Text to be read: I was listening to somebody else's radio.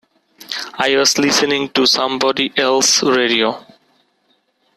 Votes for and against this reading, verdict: 1, 2, rejected